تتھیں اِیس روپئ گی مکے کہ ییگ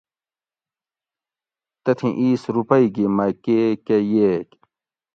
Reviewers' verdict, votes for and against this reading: accepted, 2, 0